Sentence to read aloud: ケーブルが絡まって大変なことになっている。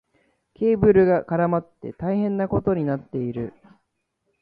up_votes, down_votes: 1, 2